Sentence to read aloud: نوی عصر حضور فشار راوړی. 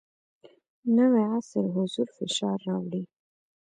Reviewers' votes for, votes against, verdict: 1, 2, rejected